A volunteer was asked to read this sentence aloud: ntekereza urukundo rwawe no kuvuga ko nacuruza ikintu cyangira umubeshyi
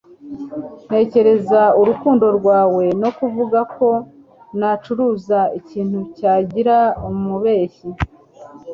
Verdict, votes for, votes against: rejected, 1, 2